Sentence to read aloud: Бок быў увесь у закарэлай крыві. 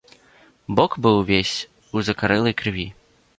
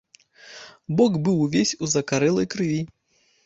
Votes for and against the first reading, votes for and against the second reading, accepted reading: 2, 0, 1, 2, first